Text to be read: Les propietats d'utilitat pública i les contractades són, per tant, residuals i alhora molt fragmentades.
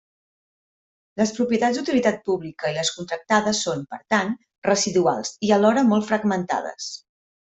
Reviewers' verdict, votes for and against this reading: accepted, 3, 0